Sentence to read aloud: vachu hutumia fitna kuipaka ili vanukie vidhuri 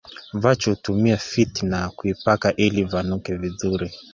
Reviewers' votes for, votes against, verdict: 1, 2, rejected